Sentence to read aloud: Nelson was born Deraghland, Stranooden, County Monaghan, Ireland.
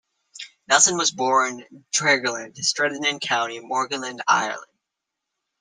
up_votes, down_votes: 2, 1